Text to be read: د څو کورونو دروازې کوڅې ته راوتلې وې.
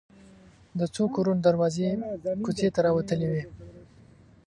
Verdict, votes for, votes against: rejected, 1, 2